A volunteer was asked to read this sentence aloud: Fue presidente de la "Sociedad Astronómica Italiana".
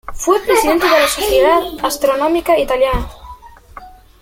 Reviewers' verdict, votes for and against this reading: rejected, 0, 2